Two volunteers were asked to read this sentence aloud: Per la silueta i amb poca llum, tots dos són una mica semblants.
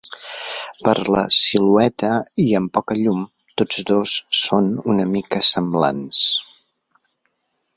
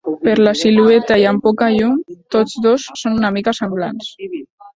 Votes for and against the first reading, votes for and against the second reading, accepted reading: 4, 0, 0, 2, first